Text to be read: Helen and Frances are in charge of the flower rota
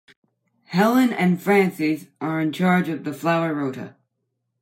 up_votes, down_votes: 0, 2